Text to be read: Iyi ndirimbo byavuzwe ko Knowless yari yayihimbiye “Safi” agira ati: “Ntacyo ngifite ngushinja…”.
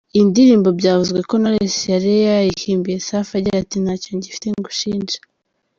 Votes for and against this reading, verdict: 2, 0, accepted